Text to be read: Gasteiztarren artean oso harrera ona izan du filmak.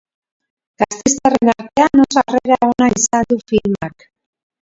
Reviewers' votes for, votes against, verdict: 0, 4, rejected